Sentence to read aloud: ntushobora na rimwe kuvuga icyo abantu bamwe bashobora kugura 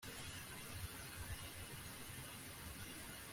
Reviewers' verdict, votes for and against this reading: rejected, 1, 2